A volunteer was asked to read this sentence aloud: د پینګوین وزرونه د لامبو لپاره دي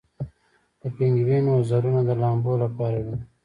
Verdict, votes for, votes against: accepted, 2, 0